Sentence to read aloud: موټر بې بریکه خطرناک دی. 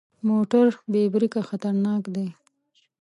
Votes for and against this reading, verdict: 2, 0, accepted